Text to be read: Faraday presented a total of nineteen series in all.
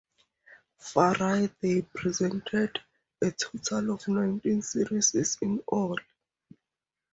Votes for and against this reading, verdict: 0, 2, rejected